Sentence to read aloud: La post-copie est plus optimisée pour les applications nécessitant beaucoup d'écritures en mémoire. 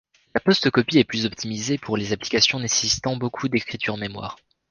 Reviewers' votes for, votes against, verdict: 1, 2, rejected